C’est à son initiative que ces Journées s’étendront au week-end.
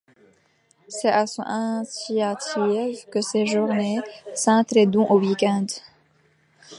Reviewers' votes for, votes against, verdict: 0, 2, rejected